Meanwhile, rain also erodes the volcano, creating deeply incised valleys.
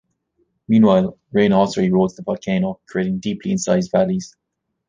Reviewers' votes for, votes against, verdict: 1, 2, rejected